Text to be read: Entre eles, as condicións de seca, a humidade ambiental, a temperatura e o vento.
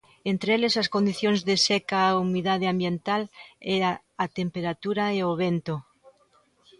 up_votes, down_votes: 0, 2